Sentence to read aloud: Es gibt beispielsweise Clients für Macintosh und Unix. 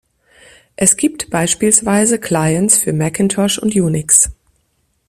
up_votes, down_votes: 2, 0